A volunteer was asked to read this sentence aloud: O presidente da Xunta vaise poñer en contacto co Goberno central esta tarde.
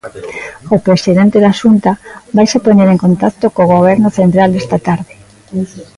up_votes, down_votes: 2, 0